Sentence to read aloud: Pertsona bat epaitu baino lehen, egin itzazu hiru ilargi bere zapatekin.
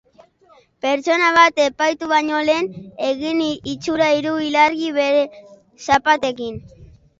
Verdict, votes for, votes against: rejected, 0, 2